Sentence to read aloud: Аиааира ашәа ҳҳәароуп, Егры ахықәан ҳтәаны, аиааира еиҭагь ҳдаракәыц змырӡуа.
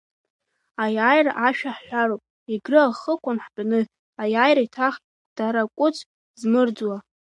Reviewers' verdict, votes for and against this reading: accepted, 2, 1